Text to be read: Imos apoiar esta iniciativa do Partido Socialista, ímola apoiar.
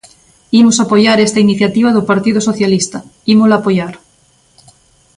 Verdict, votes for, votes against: accepted, 2, 0